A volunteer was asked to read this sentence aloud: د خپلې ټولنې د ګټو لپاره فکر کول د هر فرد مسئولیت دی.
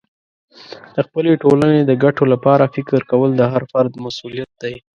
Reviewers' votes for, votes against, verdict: 2, 1, accepted